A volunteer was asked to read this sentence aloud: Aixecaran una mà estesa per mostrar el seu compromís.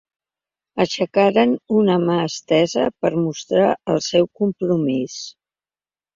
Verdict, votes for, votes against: accepted, 2, 0